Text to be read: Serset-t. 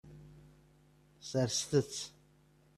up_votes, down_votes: 1, 2